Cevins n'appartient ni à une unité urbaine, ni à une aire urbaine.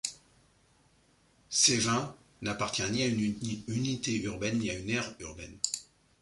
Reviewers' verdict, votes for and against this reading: rejected, 1, 2